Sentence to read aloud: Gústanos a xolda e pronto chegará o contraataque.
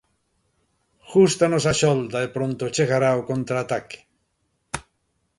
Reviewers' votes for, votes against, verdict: 2, 0, accepted